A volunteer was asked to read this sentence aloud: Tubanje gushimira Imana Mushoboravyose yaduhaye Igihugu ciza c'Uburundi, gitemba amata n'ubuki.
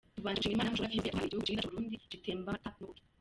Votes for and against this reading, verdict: 0, 2, rejected